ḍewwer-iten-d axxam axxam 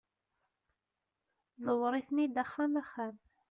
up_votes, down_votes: 1, 2